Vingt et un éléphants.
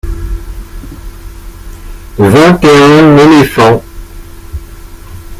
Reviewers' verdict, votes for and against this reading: rejected, 0, 2